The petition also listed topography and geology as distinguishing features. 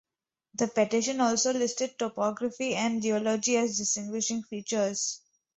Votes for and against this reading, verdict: 0, 2, rejected